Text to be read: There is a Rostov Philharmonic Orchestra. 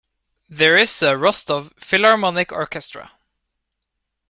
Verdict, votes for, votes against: accepted, 2, 1